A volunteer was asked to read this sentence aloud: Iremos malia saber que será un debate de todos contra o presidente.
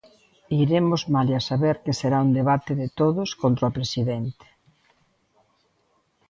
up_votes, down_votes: 2, 0